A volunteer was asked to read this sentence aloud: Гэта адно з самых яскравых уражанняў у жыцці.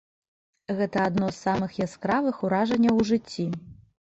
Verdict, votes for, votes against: rejected, 0, 2